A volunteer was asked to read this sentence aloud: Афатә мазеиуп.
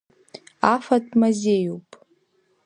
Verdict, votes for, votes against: accepted, 2, 0